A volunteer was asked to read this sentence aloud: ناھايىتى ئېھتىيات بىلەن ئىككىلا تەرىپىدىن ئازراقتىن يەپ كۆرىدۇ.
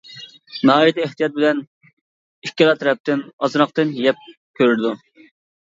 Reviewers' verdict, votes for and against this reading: rejected, 0, 2